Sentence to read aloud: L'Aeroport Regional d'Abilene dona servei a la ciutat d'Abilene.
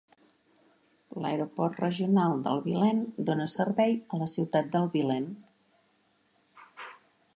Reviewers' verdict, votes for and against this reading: rejected, 0, 2